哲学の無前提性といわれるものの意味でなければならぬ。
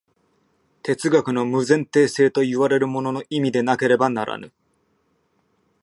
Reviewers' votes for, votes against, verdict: 2, 0, accepted